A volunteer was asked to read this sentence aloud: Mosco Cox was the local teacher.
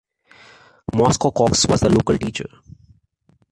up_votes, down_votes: 2, 1